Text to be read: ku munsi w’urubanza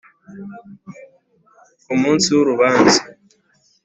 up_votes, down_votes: 2, 0